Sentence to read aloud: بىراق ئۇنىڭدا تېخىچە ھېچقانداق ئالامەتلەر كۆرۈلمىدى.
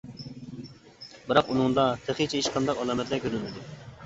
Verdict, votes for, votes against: accepted, 2, 0